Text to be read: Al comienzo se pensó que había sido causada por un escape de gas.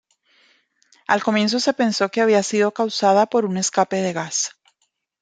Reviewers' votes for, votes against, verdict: 2, 0, accepted